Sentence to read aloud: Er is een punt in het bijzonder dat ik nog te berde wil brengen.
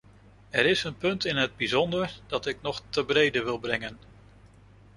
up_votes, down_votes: 0, 2